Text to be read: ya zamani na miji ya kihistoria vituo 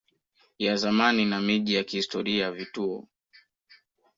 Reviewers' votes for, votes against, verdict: 1, 2, rejected